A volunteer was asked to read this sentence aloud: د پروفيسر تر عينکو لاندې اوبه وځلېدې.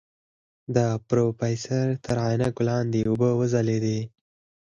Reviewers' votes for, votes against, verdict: 4, 0, accepted